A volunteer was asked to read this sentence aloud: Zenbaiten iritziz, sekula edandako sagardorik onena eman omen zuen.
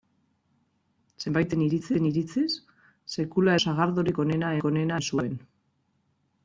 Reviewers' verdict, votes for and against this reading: rejected, 0, 2